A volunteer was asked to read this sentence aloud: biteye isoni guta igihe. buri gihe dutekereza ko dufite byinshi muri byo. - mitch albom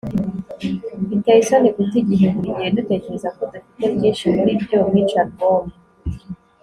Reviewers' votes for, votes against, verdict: 3, 0, accepted